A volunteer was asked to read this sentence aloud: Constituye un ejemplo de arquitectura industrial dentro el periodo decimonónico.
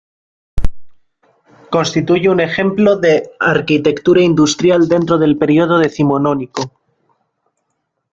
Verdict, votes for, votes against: rejected, 1, 2